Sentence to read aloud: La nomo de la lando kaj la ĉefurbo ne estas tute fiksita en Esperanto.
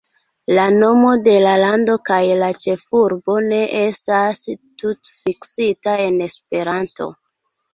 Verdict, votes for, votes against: rejected, 0, 2